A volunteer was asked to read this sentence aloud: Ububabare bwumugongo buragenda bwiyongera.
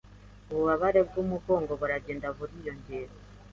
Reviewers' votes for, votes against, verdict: 1, 2, rejected